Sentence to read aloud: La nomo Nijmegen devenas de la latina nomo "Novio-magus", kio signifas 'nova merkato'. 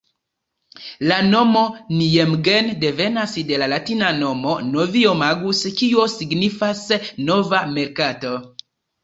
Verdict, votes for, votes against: accepted, 2, 0